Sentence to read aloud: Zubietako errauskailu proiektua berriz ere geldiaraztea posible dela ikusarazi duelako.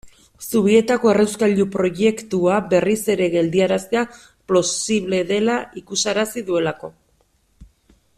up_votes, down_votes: 1, 2